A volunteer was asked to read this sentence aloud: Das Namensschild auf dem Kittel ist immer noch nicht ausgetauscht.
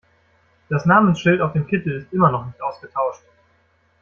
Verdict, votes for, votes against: rejected, 1, 2